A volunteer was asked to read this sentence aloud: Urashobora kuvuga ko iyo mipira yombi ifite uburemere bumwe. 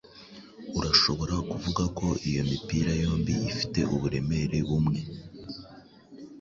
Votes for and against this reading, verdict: 2, 0, accepted